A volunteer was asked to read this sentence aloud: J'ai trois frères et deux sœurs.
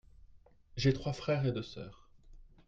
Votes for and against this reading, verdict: 2, 0, accepted